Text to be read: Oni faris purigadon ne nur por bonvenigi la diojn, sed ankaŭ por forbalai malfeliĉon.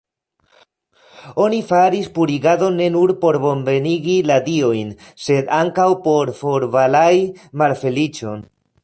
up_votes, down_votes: 1, 2